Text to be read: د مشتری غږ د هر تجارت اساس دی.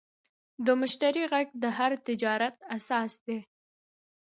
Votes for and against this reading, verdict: 2, 1, accepted